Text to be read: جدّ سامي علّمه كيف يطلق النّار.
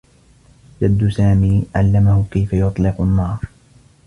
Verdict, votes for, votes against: accepted, 2, 0